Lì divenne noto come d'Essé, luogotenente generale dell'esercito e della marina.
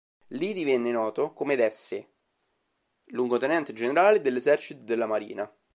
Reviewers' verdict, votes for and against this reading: accepted, 2, 1